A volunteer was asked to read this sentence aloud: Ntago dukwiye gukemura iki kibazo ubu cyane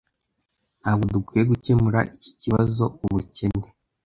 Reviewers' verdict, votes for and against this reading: rejected, 1, 2